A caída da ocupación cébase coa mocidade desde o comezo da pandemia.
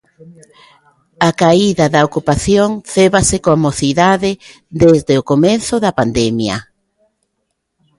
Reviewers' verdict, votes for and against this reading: accepted, 2, 0